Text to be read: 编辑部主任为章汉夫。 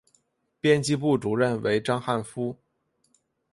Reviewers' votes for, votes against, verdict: 5, 1, accepted